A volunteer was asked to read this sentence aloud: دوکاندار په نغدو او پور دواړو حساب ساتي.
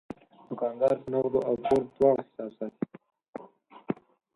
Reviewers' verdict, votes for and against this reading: rejected, 4, 6